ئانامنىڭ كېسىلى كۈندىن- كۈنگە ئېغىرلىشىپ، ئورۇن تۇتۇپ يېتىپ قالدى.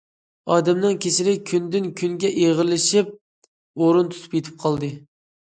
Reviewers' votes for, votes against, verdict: 0, 2, rejected